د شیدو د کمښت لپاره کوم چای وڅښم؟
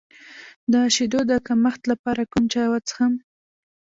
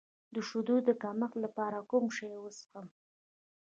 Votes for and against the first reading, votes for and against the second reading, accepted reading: 0, 2, 2, 1, second